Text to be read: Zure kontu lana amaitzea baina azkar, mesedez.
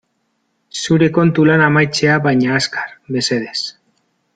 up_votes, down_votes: 2, 3